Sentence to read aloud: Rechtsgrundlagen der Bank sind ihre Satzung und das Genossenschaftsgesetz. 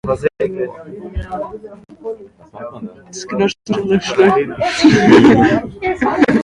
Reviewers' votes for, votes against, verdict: 0, 2, rejected